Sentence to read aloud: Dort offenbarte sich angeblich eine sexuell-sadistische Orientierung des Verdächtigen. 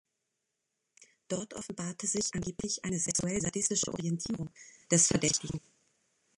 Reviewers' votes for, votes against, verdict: 1, 2, rejected